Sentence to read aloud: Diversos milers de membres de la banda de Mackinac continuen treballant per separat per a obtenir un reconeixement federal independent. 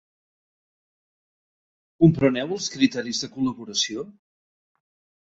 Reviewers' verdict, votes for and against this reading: rejected, 0, 2